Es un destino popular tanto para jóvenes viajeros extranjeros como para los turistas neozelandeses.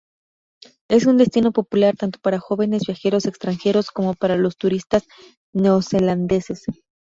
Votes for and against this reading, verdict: 4, 0, accepted